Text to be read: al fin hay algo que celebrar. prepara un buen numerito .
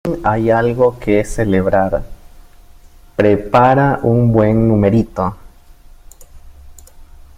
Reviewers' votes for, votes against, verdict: 0, 2, rejected